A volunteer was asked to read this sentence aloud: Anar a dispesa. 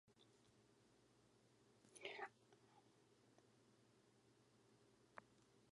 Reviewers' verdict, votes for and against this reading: rejected, 0, 2